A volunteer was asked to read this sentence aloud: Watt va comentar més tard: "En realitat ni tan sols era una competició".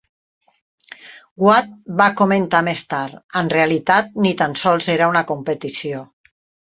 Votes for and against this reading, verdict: 6, 0, accepted